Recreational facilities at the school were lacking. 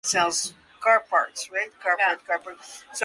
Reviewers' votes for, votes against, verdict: 0, 2, rejected